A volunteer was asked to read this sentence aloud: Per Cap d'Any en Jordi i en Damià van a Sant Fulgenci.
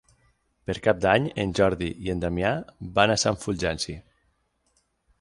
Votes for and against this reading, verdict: 6, 0, accepted